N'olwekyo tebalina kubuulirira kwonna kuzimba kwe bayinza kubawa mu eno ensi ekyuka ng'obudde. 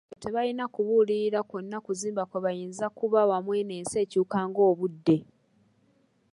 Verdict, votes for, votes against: rejected, 1, 2